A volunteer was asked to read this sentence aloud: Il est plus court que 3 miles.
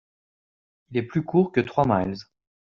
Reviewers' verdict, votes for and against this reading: rejected, 0, 2